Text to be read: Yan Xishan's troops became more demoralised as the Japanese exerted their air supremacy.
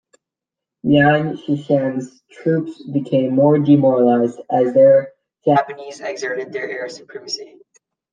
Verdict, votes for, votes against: accepted, 2, 1